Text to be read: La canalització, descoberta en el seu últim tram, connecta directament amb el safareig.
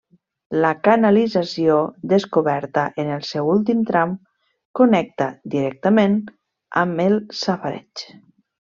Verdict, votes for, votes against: accepted, 3, 0